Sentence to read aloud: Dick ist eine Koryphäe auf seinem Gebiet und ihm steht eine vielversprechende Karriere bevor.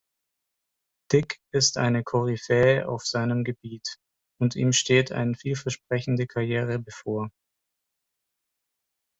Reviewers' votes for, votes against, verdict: 1, 2, rejected